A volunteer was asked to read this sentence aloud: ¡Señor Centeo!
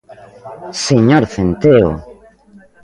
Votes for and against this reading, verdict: 2, 1, accepted